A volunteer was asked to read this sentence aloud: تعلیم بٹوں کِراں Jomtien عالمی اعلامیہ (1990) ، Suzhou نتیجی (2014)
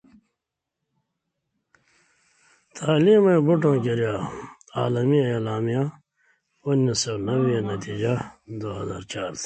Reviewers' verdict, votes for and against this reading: rejected, 0, 2